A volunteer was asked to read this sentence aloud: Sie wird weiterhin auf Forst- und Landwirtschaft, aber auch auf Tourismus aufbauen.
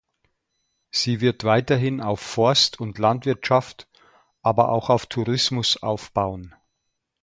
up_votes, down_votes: 2, 0